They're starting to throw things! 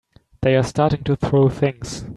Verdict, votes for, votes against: accepted, 3, 0